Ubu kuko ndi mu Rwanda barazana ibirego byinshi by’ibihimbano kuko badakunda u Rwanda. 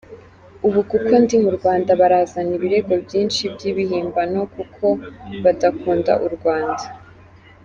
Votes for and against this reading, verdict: 1, 2, rejected